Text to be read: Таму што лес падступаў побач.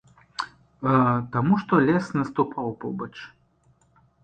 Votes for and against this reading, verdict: 1, 2, rejected